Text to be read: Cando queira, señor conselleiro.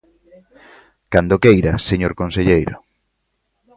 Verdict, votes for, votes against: accepted, 2, 0